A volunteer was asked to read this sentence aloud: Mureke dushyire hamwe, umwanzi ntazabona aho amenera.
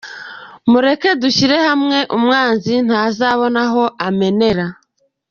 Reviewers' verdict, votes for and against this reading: accepted, 2, 0